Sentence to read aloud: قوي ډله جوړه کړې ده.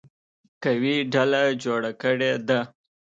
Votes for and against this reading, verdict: 2, 0, accepted